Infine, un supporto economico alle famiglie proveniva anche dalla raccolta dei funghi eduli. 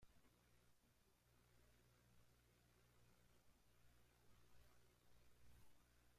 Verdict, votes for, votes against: rejected, 0, 2